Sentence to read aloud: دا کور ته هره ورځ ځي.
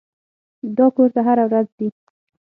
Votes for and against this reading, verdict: 6, 0, accepted